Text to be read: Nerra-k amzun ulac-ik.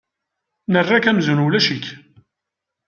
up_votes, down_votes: 2, 0